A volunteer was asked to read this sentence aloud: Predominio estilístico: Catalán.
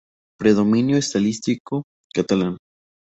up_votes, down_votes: 0, 2